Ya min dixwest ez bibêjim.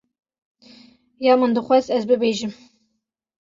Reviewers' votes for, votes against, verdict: 2, 0, accepted